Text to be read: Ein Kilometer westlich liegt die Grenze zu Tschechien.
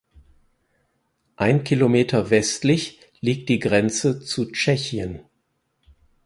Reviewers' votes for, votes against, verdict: 4, 0, accepted